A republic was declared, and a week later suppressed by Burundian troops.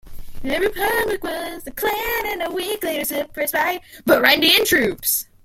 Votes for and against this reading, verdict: 0, 2, rejected